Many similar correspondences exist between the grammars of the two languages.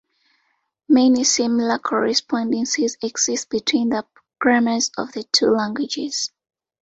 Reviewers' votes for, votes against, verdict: 2, 0, accepted